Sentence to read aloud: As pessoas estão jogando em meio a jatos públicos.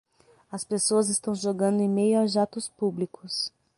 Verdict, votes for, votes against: accepted, 6, 0